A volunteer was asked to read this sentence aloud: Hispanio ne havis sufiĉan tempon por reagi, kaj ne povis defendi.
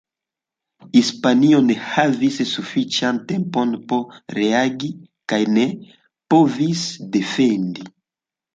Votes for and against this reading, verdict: 1, 2, rejected